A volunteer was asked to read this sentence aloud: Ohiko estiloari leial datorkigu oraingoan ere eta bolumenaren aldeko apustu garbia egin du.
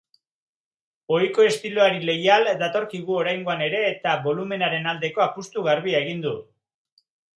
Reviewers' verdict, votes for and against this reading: accepted, 2, 0